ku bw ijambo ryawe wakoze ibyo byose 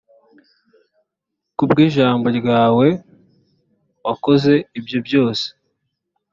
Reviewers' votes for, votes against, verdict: 2, 0, accepted